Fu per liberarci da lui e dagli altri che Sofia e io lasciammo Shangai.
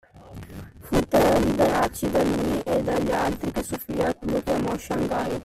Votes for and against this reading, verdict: 0, 2, rejected